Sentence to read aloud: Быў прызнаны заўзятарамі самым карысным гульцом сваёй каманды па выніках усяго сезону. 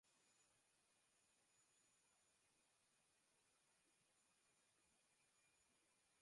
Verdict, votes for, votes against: rejected, 0, 2